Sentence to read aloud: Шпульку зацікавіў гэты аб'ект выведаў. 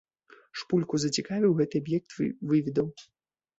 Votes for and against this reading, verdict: 0, 2, rejected